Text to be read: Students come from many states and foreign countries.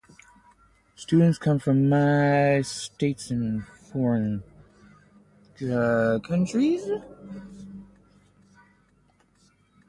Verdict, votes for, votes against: rejected, 0, 2